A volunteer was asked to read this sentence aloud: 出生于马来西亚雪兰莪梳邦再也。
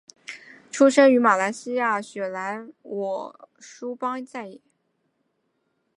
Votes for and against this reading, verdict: 4, 0, accepted